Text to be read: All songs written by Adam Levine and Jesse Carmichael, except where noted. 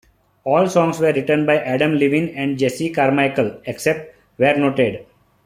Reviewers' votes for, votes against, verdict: 1, 2, rejected